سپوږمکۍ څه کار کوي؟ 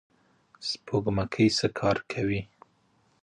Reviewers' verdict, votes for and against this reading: accepted, 2, 1